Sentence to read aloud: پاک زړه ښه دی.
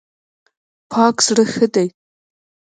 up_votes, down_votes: 0, 2